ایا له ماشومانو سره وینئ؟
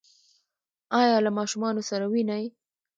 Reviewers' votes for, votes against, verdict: 0, 2, rejected